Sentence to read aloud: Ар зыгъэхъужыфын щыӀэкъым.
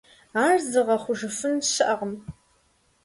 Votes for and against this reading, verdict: 2, 0, accepted